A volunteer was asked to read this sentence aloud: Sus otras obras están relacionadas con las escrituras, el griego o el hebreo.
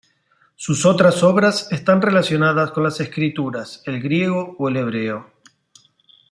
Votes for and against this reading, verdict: 2, 0, accepted